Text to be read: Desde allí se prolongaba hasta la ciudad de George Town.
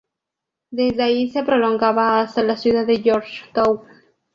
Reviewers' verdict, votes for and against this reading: accepted, 2, 0